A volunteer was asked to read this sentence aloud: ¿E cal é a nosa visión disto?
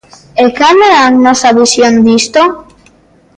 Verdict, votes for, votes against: accepted, 2, 0